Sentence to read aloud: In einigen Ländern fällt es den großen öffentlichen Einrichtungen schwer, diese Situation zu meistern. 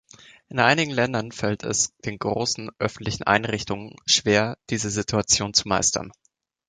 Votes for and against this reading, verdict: 3, 0, accepted